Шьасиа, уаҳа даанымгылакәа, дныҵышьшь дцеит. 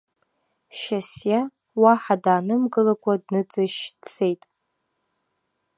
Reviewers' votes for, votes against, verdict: 2, 0, accepted